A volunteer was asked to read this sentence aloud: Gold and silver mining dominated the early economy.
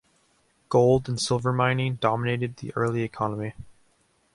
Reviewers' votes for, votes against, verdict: 2, 0, accepted